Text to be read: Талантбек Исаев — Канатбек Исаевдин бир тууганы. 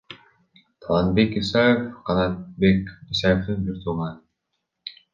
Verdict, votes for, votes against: rejected, 0, 2